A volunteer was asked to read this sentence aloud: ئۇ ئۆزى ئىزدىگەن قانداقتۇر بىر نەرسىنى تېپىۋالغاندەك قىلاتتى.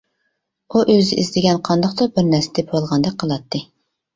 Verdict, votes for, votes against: rejected, 1, 2